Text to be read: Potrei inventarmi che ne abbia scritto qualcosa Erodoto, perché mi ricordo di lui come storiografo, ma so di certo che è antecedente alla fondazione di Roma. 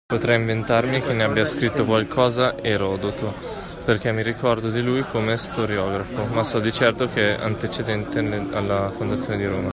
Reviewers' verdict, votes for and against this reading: rejected, 0, 2